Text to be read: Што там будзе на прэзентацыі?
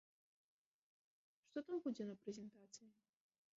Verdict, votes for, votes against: rejected, 1, 2